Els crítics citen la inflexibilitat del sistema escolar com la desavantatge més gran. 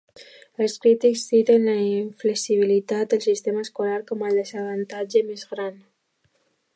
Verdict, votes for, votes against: rejected, 1, 2